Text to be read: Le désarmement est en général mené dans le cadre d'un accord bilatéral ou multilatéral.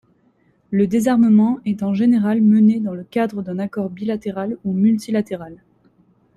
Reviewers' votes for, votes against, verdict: 2, 0, accepted